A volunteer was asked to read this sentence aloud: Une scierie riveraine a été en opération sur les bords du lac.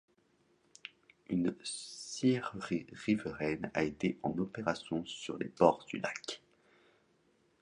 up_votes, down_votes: 1, 2